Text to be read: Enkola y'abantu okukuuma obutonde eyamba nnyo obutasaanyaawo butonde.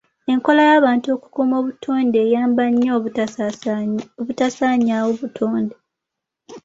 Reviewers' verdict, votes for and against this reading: rejected, 0, 2